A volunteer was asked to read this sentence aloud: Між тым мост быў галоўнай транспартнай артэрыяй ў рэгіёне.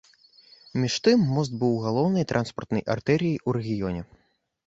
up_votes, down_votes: 2, 0